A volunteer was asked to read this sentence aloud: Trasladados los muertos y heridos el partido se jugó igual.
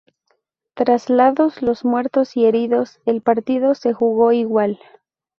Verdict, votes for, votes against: rejected, 0, 2